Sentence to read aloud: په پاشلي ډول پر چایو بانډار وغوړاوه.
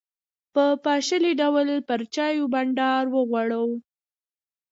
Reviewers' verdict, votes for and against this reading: accepted, 2, 0